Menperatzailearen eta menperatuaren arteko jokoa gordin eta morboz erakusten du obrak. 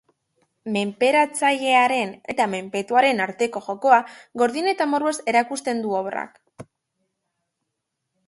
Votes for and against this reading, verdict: 0, 2, rejected